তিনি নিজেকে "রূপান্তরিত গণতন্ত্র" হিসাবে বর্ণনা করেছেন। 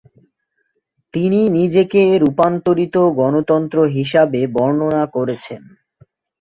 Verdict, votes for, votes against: accepted, 2, 0